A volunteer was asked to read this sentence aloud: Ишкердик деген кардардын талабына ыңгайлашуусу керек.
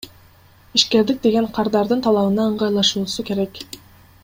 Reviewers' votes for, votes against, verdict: 2, 0, accepted